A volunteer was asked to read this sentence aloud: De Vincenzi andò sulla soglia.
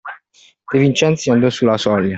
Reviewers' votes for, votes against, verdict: 2, 0, accepted